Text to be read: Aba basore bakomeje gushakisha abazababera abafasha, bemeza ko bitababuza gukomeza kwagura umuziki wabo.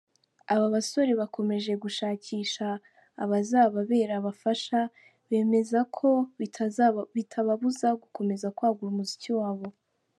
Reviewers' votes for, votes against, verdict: 1, 2, rejected